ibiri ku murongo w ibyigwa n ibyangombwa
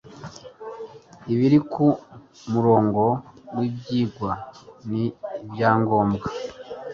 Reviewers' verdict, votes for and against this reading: accepted, 2, 0